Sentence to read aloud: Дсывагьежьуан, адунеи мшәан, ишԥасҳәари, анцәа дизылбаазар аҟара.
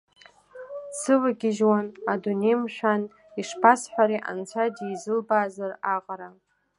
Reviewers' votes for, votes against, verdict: 2, 0, accepted